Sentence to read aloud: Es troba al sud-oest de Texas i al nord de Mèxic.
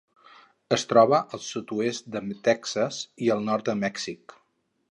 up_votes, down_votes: 0, 4